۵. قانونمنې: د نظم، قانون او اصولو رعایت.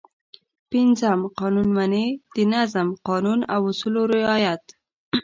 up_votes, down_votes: 0, 2